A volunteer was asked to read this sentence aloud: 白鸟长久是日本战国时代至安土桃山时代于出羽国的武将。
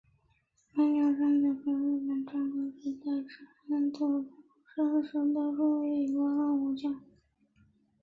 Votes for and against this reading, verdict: 4, 2, accepted